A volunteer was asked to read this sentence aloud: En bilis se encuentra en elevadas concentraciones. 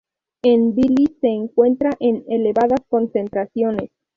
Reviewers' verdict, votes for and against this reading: rejected, 2, 2